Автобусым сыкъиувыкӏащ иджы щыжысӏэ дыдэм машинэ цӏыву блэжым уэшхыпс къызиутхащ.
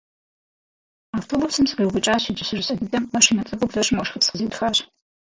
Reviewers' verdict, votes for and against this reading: rejected, 0, 6